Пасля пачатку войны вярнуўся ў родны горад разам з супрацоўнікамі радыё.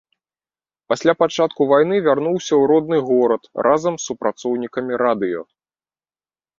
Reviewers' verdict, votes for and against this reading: rejected, 1, 2